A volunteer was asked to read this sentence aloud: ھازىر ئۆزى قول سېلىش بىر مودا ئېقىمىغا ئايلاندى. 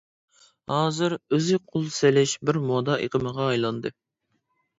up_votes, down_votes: 4, 0